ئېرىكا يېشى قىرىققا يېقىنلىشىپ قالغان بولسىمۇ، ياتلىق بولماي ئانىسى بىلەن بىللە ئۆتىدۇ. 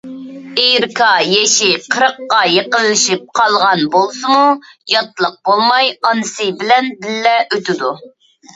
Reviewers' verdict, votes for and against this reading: rejected, 0, 2